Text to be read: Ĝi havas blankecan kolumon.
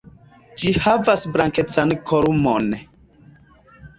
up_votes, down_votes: 1, 2